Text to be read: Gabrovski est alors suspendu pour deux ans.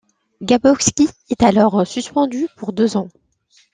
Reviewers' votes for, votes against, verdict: 2, 0, accepted